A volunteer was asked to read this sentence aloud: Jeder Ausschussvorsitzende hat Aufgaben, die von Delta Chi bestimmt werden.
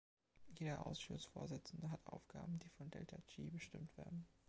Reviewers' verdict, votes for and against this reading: accepted, 2, 0